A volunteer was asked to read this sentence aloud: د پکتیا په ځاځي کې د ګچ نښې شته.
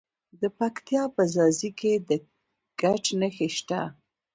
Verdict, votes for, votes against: rejected, 1, 2